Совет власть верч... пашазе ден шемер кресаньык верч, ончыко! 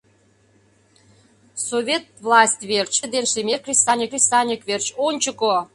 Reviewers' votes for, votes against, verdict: 0, 2, rejected